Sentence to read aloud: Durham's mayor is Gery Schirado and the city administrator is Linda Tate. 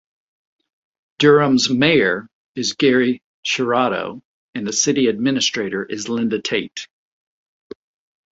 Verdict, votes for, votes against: accepted, 3, 0